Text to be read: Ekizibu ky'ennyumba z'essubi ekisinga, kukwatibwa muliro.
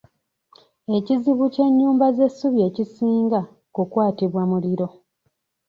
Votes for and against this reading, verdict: 2, 0, accepted